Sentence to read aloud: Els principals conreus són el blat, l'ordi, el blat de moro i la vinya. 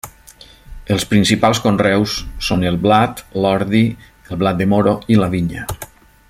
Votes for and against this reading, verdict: 3, 0, accepted